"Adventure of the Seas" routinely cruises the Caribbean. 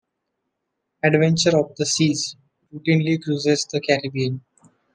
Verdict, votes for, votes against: accepted, 2, 1